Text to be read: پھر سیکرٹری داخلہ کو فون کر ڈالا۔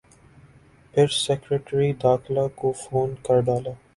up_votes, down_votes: 4, 0